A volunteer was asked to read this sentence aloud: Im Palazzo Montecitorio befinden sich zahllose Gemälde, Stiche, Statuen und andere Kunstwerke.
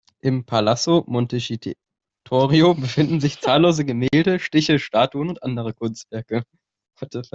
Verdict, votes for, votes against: rejected, 0, 2